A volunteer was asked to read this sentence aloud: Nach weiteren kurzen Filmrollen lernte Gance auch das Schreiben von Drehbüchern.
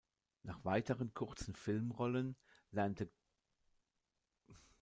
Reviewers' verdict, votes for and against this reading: rejected, 0, 2